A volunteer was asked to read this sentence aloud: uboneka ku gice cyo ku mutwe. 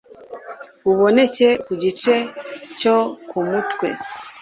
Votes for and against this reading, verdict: 1, 2, rejected